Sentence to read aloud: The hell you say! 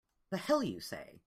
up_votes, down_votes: 2, 0